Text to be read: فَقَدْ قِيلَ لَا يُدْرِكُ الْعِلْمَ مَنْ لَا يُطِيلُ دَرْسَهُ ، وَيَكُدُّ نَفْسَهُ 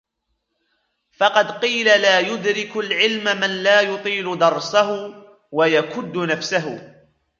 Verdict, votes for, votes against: accepted, 2, 0